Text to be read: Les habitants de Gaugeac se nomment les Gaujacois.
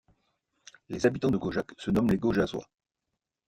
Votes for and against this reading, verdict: 0, 2, rejected